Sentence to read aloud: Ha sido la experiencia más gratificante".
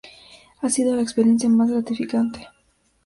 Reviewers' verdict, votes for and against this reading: accepted, 2, 0